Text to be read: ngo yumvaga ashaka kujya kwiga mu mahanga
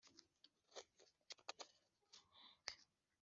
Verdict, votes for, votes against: rejected, 1, 3